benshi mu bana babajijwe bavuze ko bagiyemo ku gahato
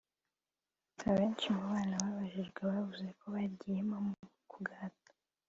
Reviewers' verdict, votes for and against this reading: accepted, 4, 3